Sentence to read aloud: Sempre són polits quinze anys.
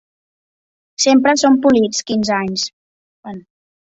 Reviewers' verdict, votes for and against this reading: rejected, 0, 2